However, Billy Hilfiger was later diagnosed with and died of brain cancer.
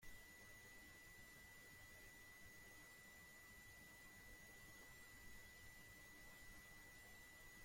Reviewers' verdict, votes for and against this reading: rejected, 0, 2